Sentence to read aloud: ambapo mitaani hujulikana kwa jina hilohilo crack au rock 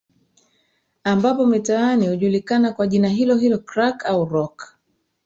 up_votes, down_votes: 0, 2